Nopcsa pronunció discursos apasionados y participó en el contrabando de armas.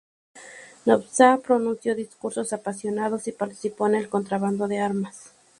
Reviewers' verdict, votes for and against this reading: rejected, 0, 2